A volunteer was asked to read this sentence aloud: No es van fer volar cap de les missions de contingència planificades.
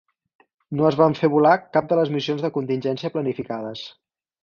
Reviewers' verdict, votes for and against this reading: accepted, 4, 0